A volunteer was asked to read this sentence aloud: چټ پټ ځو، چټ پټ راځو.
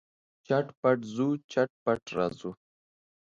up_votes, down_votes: 2, 0